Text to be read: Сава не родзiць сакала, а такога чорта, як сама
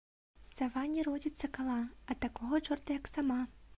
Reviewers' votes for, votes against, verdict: 2, 0, accepted